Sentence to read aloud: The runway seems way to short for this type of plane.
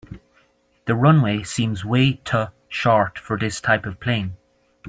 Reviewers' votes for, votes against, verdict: 1, 2, rejected